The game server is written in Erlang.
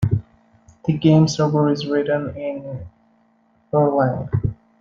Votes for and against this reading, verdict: 2, 0, accepted